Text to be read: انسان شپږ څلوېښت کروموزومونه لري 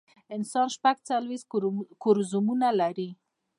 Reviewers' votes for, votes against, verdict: 2, 1, accepted